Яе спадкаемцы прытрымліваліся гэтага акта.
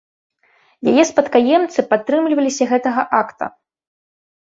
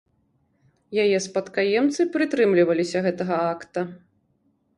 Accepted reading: second